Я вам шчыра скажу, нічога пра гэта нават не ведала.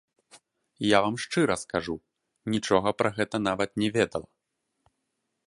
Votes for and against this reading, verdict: 2, 1, accepted